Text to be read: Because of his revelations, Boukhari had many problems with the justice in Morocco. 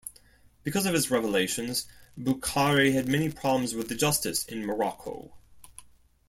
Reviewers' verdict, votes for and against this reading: accepted, 2, 0